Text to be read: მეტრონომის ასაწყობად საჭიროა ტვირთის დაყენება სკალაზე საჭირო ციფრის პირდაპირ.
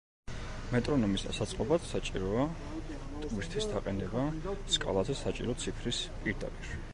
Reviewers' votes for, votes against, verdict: 1, 2, rejected